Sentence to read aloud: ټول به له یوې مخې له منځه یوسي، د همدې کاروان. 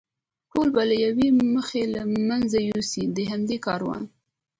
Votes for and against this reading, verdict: 2, 1, accepted